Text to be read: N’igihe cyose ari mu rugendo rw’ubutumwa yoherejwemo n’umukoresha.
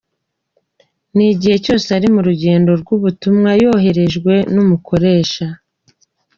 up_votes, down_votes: 2, 1